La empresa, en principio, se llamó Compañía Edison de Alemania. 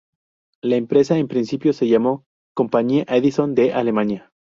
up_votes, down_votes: 0, 2